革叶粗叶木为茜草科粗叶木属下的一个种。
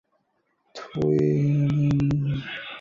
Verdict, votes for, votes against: rejected, 0, 2